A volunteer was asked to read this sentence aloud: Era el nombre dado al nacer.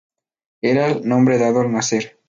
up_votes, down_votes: 2, 0